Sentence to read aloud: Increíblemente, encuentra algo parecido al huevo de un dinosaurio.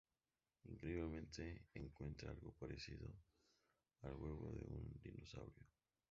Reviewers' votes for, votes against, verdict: 0, 2, rejected